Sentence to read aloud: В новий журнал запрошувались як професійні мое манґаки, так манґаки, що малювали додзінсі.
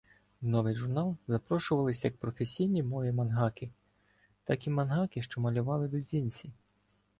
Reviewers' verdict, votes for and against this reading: rejected, 0, 2